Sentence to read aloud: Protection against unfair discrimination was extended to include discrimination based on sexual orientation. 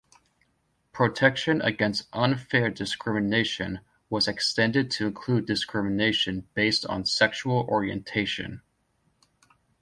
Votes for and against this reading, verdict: 2, 0, accepted